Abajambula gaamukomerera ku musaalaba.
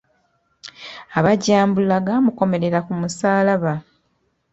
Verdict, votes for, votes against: rejected, 0, 2